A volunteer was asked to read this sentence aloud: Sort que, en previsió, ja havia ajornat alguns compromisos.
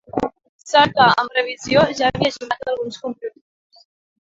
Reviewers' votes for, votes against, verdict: 0, 2, rejected